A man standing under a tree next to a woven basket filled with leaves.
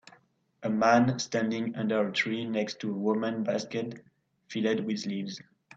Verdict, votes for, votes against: rejected, 0, 2